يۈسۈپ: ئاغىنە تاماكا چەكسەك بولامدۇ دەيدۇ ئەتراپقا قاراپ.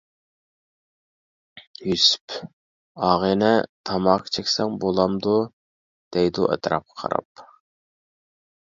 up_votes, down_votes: 0, 2